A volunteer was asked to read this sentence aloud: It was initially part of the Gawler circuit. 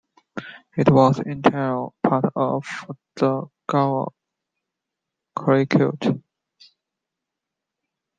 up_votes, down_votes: 0, 2